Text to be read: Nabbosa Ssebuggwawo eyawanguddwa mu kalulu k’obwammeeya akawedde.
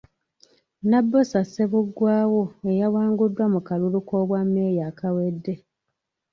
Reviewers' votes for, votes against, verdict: 3, 0, accepted